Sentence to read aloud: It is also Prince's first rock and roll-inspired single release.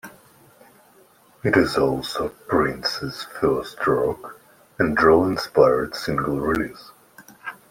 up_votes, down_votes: 2, 1